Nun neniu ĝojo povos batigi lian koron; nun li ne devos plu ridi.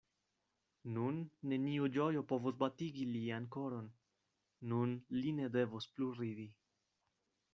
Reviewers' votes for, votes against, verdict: 2, 0, accepted